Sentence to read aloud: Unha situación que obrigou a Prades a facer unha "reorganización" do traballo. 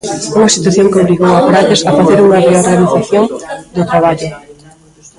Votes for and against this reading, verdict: 0, 2, rejected